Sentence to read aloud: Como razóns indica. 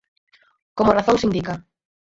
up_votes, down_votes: 6, 2